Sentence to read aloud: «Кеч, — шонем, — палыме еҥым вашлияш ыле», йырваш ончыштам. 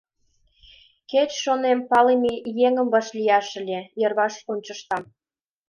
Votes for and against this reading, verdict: 2, 0, accepted